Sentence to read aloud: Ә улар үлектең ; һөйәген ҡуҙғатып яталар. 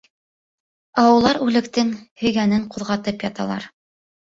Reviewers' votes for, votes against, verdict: 1, 2, rejected